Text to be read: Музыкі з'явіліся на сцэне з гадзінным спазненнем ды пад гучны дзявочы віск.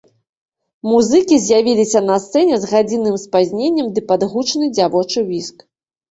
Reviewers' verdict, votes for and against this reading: accepted, 2, 0